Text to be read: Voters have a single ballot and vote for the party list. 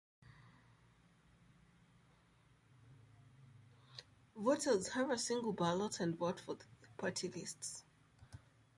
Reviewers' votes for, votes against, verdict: 1, 2, rejected